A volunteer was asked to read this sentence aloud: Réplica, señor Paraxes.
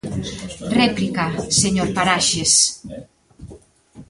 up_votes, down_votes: 2, 1